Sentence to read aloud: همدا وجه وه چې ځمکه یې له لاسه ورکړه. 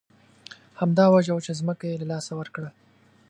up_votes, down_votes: 2, 0